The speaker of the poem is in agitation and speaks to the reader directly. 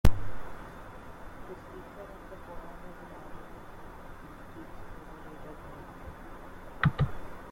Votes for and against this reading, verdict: 0, 2, rejected